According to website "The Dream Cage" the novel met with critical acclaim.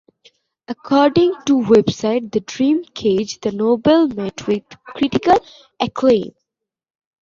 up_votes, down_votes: 0, 2